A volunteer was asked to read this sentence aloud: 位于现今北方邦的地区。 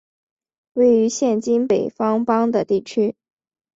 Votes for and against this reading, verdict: 2, 0, accepted